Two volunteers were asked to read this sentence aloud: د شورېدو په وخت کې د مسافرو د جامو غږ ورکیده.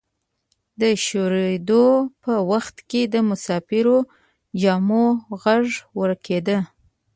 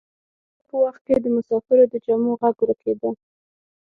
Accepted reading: first